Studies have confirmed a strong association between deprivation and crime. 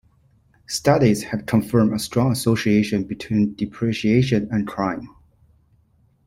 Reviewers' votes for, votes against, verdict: 1, 2, rejected